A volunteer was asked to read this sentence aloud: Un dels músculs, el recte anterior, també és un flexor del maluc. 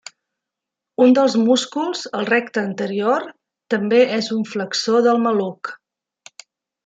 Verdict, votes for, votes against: accepted, 4, 0